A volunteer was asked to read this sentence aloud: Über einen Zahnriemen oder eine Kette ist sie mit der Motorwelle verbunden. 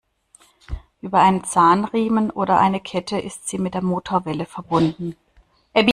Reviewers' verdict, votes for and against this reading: rejected, 1, 2